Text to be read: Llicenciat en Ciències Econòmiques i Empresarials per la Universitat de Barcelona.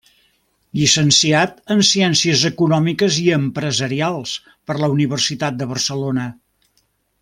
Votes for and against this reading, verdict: 3, 0, accepted